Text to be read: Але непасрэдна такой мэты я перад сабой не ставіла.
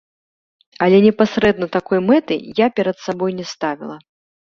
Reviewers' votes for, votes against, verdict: 2, 0, accepted